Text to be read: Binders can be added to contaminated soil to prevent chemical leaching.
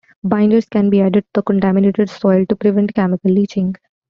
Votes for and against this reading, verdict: 2, 1, accepted